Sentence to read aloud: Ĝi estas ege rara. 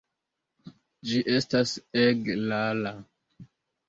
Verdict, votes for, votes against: accepted, 2, 0